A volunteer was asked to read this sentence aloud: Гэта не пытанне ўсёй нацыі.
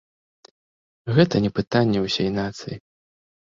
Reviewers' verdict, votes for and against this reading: rejected, 1, 2